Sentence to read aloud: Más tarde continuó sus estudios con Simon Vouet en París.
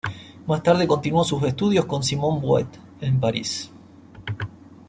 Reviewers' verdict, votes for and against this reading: accepted, 2, 0